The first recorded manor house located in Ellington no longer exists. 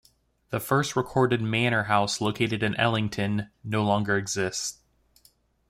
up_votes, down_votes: 2, 0